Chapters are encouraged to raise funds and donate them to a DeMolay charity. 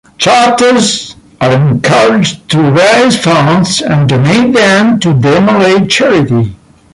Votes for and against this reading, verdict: 2, 0, accepted